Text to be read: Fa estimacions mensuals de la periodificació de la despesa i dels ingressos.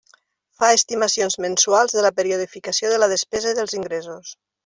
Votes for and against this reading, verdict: 2, 1, accepted